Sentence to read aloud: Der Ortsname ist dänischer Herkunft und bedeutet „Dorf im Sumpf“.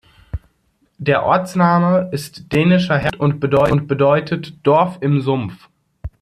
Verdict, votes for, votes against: rejected, 0, 2